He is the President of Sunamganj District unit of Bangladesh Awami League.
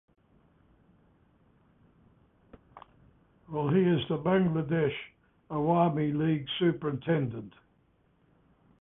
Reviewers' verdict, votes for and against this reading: rejected, 0, 2